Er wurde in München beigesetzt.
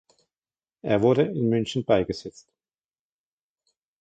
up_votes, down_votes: 1, 2